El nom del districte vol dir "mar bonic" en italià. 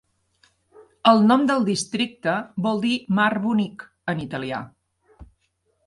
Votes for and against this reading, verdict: 3, 0, accepted